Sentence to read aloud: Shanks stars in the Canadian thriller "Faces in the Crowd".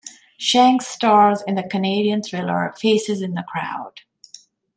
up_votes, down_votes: 2, 0